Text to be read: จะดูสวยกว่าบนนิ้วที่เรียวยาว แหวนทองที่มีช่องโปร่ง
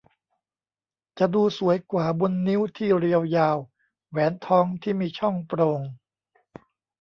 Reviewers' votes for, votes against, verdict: 2, 0, accepted